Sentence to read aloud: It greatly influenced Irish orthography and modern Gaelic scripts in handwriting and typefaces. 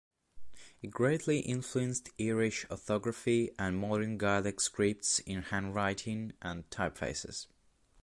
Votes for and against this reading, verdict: 1, 3, rejected